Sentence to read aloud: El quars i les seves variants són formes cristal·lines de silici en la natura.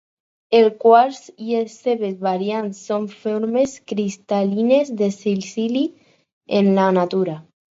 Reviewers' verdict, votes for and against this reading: rejected, 0, 4